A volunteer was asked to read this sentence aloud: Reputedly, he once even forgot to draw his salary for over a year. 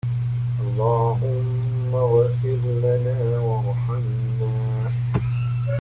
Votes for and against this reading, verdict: 0, 2, rejected